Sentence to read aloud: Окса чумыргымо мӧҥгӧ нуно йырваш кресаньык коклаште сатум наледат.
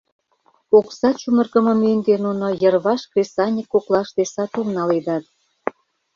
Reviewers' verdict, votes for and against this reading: accepted, 2, 0